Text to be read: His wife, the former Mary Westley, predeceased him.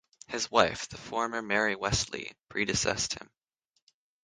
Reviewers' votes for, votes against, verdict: 3, 6, rejected